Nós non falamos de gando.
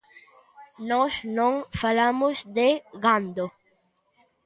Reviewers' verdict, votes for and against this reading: accepted, 2, 0